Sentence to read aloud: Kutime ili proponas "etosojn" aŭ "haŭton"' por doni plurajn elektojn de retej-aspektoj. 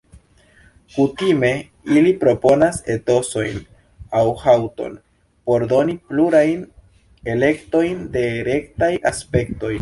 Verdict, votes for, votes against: rejected, 1, 2